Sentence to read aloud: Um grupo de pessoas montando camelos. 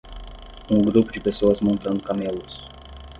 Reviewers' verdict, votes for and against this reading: rejected, 5, 5